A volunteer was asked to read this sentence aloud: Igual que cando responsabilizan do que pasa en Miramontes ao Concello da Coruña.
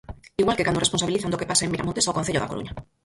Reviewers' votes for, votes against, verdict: 0, 4, rejected